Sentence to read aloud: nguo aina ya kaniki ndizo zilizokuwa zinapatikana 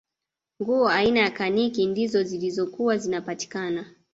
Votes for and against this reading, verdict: 2, 1, accepted